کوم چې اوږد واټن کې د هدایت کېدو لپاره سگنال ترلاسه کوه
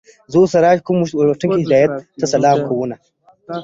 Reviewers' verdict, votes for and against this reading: rejected, 0, 2